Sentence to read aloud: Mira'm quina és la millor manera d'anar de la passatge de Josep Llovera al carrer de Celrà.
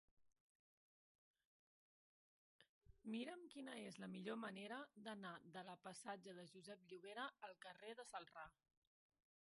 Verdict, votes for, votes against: rejected, 0, 2